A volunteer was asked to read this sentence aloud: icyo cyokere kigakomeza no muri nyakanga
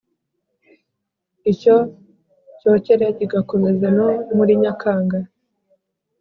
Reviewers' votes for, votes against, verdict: 4, 0, accepted